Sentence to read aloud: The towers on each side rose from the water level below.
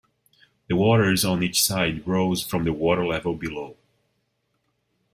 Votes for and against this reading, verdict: 1, 2, rejected